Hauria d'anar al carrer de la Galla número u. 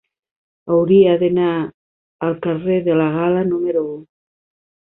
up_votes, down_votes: 0, 2